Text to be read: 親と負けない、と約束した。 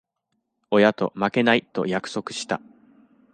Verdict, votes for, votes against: accepted, 2, 0